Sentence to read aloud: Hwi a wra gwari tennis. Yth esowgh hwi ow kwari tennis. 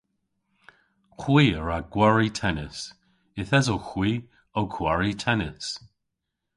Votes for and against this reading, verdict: 2, 0, accepted